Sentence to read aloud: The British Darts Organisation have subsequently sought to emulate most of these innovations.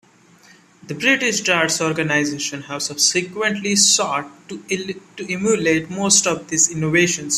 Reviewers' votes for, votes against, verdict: 2, 1, accepted